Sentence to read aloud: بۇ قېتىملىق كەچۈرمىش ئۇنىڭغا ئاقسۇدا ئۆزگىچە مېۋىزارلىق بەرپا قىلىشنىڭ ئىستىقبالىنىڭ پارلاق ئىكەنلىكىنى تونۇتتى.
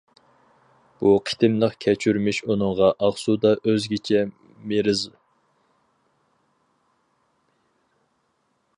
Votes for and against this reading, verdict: 0, 4, rejected